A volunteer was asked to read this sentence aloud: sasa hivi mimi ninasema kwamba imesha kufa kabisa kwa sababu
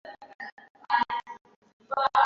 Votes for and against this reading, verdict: 0, 2, rejected